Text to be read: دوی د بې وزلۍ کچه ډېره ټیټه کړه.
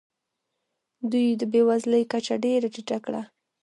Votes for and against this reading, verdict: 3, 0, accepted